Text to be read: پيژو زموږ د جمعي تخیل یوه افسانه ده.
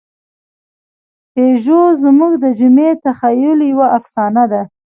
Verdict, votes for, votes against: rejected, 1, 2